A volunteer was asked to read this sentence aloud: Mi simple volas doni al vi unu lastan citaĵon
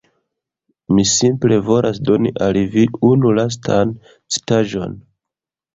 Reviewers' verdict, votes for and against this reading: rejected, 1, 2